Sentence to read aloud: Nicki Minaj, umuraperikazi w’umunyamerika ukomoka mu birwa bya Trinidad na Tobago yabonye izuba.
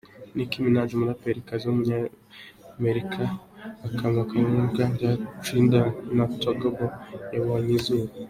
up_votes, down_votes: 1, 2